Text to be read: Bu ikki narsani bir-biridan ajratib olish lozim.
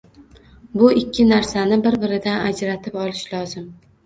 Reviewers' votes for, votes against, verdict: 2, 0, accepted